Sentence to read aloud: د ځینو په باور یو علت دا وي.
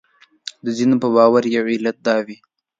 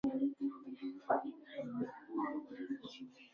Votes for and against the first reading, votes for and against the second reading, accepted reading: 2, 0, 0, 2, first